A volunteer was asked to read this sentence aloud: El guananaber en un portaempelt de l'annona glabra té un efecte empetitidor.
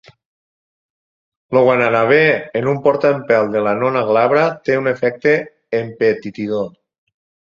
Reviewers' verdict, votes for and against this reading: rejected, 0, 4